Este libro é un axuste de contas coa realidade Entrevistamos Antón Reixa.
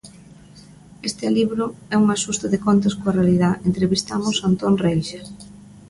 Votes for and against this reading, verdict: 0, 2, rejected